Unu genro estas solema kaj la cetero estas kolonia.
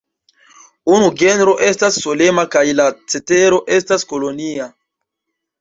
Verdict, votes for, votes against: rejected, 1, 2